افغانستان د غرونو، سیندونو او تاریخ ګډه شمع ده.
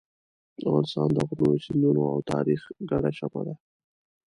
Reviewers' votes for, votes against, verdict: 0, 2, rejected